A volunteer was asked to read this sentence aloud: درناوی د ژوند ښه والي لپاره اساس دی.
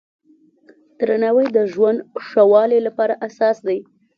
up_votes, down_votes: 2, 0